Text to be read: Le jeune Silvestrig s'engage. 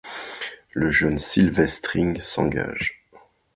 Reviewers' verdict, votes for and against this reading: rejected, 1, 2